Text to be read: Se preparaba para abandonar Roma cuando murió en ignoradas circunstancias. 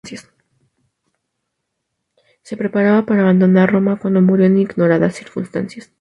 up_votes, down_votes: 0, 2